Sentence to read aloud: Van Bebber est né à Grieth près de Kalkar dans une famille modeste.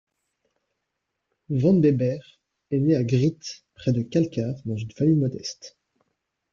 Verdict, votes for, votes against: accepted, 2, 0